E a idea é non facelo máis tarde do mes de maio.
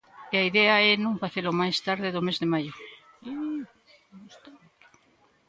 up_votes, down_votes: 1, 2